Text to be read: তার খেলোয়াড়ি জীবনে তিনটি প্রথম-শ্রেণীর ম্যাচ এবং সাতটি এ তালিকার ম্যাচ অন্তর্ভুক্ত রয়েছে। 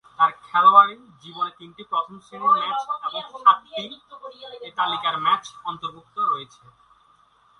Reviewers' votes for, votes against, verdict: 0, 2, rejected